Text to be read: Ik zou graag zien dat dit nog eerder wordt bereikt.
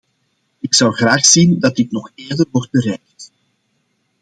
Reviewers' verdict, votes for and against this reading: accepted, 2, 0